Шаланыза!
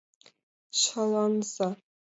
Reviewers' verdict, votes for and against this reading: rejected, 0, 2